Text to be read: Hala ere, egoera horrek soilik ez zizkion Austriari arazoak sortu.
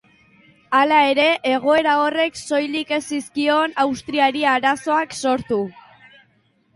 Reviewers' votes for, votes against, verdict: 3, 1, accepted